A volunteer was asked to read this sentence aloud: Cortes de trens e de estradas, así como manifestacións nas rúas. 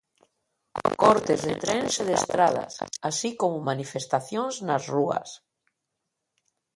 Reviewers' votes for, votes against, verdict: 1, 2, rejected